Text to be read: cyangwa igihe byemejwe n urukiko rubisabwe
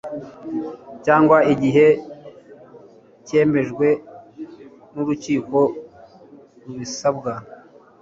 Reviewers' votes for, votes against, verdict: 0, 2, rejected